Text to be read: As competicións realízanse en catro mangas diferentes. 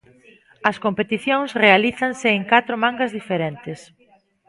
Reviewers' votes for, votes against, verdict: 2, 0, accepted